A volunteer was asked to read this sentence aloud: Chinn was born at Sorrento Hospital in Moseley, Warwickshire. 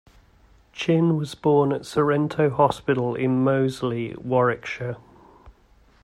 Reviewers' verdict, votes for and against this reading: rejected, 1, 2